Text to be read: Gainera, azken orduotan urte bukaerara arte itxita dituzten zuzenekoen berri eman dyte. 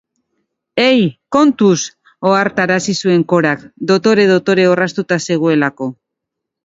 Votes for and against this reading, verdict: 0, 6, rejected